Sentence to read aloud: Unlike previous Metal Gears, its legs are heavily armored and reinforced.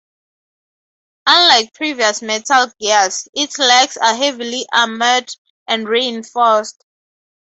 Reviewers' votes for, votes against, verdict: 2, 0, accepted